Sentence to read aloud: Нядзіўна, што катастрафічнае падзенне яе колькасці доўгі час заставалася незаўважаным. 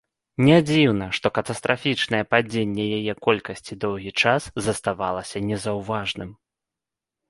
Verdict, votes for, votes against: rejected, 1, 2